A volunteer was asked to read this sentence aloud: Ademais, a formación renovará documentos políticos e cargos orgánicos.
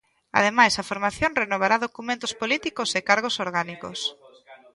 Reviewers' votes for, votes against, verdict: 1, 2, rejected